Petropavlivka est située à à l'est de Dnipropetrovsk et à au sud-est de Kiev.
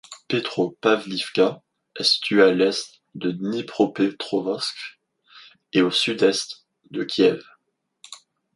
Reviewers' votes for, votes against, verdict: 0, 2, rejected